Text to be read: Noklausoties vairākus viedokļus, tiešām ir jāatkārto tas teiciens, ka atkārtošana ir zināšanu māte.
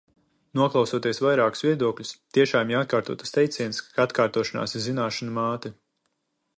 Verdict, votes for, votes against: rejected, 0, 2